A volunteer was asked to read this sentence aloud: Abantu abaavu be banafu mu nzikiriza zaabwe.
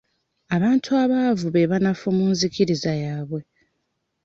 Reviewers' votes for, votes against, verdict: 1, 2, rejected